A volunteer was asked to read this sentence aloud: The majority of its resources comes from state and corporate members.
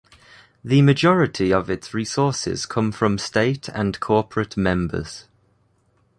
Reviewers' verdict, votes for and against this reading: rejected, 1, 2